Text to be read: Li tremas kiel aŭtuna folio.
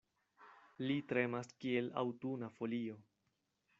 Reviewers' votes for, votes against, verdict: 2, 0, accepted